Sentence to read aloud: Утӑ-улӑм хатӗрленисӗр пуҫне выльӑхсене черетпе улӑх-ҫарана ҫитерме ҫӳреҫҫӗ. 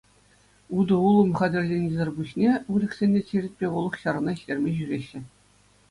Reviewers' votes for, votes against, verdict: 2, 0, accepted